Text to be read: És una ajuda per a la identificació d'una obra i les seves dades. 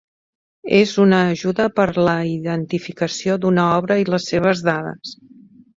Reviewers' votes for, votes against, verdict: 1, 2, rejected